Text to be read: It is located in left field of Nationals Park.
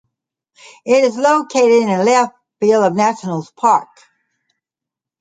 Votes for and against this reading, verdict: 2, 0, accepted